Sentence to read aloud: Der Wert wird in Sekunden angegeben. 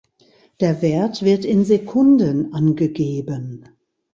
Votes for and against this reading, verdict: 2, 0, accepted